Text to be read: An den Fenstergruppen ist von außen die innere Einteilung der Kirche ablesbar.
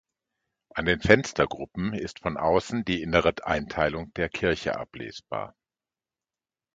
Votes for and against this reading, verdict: 1, 2, rejected